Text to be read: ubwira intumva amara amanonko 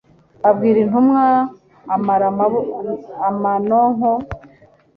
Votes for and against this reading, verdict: 0, 2, rejected